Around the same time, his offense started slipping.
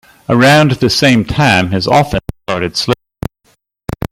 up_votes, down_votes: 0, 2